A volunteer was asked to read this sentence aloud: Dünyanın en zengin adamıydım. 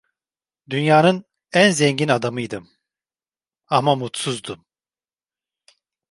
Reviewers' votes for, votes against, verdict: 0, 2, rejected